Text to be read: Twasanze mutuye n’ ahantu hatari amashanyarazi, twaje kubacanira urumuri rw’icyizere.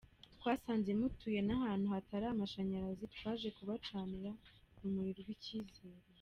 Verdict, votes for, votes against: accepted, 2, 1